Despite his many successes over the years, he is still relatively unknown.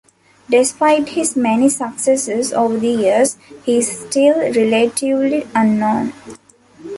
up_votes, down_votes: 2, 1